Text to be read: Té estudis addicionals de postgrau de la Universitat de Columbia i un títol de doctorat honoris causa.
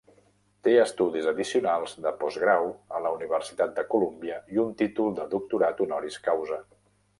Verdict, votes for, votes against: rejected, 0, 2